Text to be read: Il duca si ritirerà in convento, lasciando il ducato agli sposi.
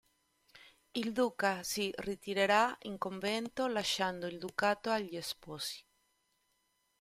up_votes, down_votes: 2, 0